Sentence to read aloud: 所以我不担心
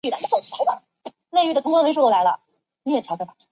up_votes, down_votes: 0, 2